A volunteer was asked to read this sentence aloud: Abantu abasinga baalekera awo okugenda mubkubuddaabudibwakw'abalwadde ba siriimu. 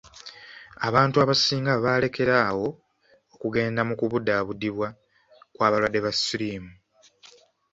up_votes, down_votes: 0, 2